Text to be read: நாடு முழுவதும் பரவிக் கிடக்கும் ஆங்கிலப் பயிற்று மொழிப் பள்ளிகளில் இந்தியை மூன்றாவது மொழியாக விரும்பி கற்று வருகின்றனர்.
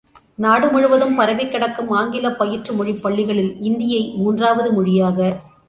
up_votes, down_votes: 0, 2